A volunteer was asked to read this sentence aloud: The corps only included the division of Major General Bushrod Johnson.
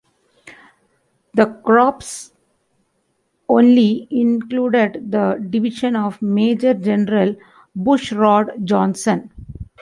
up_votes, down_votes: 0, 2